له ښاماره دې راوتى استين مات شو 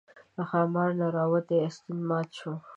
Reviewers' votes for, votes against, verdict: 2, 0, accepted